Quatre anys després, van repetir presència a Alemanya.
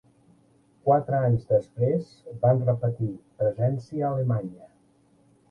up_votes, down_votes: 2, 0